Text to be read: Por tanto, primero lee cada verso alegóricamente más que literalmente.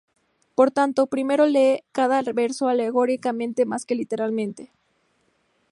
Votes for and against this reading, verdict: 4, 0, accepted